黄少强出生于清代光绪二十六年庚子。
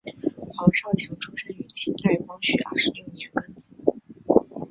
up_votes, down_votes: 1, 2